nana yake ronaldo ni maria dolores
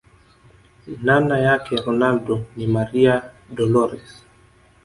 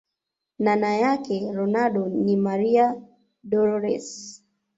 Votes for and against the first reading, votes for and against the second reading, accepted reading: 1, 2, 2, 1, second